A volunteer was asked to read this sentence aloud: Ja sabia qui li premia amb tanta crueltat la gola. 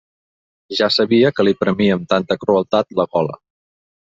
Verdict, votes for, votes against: rejected, 0, 2